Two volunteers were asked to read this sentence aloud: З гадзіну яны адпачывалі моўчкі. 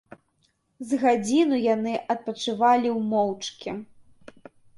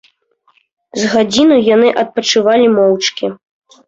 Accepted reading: second